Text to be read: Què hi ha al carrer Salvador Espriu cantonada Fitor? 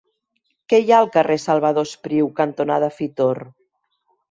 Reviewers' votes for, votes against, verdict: 4, 0, accepted